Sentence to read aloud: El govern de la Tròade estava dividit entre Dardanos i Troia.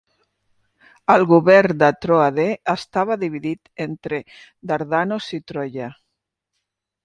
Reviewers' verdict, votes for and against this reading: rejected, 0, 2